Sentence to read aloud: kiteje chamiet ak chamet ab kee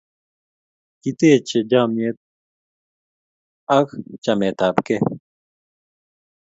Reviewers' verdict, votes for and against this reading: accepted, 2, 0